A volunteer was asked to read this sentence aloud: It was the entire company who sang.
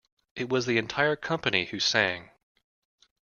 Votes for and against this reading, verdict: 2, 0, accepted